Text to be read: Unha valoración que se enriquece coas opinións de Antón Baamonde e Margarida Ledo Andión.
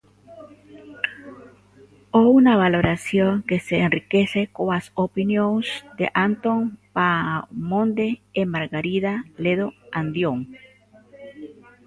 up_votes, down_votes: 0, 2